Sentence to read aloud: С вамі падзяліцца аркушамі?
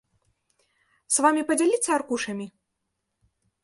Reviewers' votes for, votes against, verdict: 2, 0, accepted